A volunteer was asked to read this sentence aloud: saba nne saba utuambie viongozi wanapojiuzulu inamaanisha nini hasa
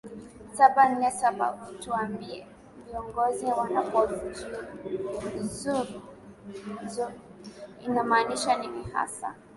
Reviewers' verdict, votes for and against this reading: rejected, 2, 3